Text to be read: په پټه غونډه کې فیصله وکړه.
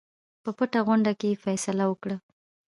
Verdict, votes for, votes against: rejected, 0, 2